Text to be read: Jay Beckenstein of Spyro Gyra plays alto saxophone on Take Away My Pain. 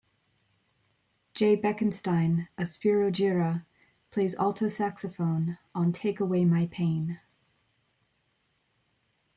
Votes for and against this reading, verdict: 2, 1, accepted